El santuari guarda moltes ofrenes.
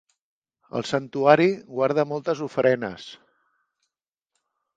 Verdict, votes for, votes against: accepted, 2, 0